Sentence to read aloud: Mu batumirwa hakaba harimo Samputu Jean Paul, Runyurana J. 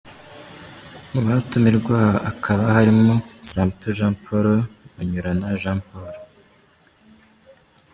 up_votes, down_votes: 0, 2